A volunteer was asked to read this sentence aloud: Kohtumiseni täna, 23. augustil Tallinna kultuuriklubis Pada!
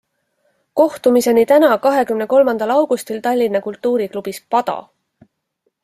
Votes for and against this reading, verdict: 0, 2, rejected